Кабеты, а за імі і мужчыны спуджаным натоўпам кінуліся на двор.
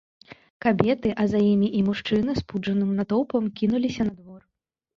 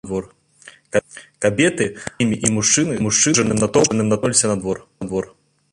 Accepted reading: first